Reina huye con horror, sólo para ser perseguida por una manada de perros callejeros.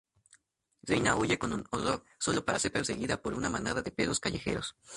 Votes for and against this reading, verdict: 0, 4, rejected